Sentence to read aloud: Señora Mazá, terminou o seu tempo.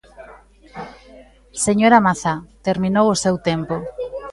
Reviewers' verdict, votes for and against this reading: rejected, 1, 2